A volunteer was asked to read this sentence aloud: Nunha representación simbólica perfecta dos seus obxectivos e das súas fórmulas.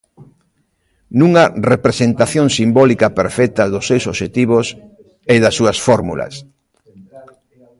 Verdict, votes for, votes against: rejected, 0, 2